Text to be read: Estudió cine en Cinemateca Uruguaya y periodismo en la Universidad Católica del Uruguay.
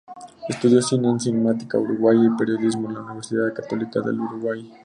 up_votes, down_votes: 0, 2